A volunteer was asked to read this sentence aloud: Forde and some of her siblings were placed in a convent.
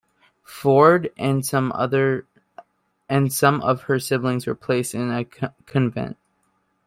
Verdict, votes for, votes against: rejected, 0, 2